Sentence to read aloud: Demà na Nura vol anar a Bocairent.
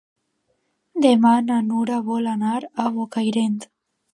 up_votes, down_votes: 2, 0